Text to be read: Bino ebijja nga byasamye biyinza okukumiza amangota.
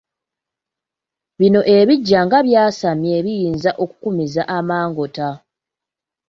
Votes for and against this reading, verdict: 0, 2, rejected